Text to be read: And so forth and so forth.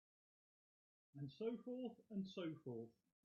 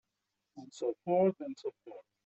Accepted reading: second